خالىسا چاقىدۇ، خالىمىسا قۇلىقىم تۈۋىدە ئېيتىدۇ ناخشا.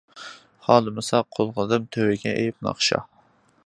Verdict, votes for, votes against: rejected, 0, 2